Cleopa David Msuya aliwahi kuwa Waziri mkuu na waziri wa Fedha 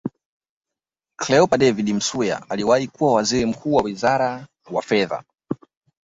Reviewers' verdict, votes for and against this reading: rejected, 1, 2